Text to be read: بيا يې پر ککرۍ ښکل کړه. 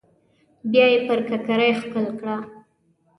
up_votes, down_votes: 2, 0